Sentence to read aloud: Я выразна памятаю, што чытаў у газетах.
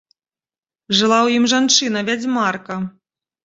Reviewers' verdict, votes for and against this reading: rejected, 0, 2